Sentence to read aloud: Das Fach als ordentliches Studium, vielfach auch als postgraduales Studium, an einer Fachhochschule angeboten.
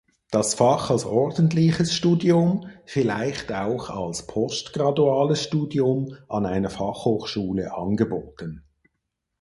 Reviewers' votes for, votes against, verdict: 0, 4, rejected